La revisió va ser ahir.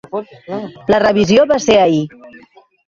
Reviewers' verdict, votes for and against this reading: accepted, 2, 1